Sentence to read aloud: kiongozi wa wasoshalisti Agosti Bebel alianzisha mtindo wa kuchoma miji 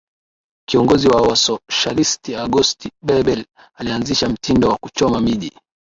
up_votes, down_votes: 2, 0